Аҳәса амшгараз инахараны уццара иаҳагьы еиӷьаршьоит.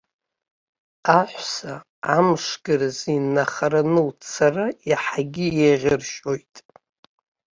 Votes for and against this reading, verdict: 0, 2, rejected